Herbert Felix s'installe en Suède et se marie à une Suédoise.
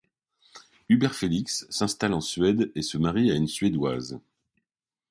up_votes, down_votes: 1, 2